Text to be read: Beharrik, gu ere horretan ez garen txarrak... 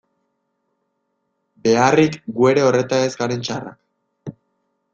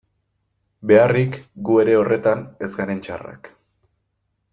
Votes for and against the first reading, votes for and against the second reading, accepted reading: 1, 2, 2, 0, second